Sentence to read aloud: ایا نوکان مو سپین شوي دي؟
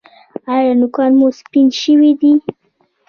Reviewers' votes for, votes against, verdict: 1, 2, rejected